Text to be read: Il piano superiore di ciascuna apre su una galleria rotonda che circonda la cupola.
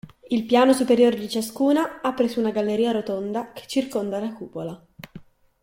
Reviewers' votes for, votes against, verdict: 2, 0, accepted